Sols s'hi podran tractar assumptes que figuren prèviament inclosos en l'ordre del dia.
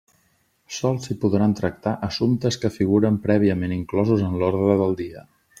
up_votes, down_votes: 2, 0